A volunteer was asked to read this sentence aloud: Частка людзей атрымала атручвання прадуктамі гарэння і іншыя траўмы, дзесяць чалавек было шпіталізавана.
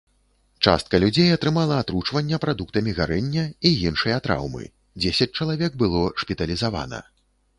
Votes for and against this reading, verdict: 3, 0, accepted